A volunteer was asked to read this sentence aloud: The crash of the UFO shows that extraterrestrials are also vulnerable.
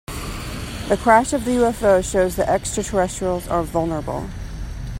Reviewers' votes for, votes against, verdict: 0, 3, rejected